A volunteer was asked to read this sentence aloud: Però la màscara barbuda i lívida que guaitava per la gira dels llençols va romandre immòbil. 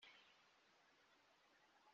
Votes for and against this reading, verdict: 0, 2, rejected